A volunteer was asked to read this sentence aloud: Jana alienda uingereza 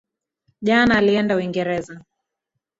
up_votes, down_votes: 1, 2